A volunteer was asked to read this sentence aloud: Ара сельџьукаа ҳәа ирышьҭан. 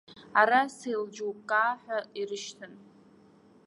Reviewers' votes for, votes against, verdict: 1, 2, rejected